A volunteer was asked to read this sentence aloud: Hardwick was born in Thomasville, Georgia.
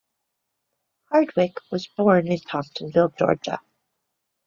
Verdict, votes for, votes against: accepted, 2, 0